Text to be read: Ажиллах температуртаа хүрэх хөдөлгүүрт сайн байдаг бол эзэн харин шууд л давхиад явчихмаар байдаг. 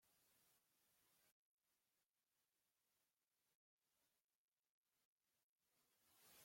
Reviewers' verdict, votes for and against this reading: rejected, 0, 2